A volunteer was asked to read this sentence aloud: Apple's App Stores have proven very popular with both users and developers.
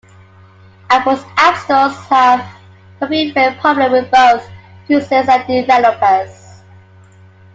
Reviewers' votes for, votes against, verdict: 0, 2, rejected